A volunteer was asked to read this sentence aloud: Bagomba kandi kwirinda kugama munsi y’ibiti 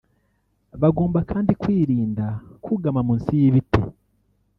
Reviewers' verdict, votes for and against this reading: rejected, 0, 2